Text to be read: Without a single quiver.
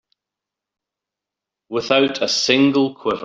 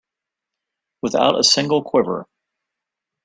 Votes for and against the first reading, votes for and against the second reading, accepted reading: 0, 2, 2, 0, second